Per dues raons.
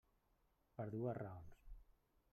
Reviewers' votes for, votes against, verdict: 1, 2, rejected